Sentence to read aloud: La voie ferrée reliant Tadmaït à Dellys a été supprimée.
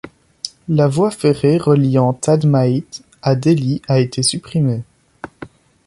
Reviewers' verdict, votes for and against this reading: accepted, 2, 0